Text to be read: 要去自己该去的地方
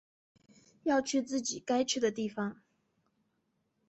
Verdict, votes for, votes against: rejected, 1, 2